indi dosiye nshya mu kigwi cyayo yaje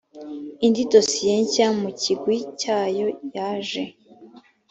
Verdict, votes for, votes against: accepted, 2, 0